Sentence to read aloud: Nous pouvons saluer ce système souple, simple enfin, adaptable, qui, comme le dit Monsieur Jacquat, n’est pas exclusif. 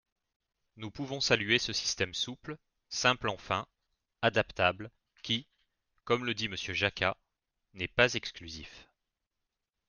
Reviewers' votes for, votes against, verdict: 3, 0, accepted